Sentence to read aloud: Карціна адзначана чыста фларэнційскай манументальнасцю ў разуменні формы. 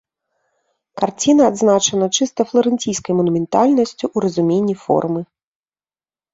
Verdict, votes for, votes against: accepted, 3, 0